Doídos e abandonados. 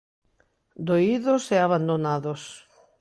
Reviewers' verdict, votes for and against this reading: accepted, 2, 0